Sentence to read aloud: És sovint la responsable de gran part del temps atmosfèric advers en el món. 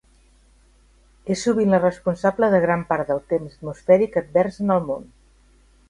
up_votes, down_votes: 3, 0